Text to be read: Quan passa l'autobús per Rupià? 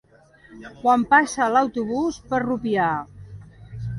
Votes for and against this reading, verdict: 3, 2, accepted